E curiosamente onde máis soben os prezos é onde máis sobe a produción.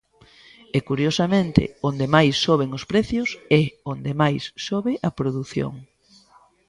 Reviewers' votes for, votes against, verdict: 0, 2, rejected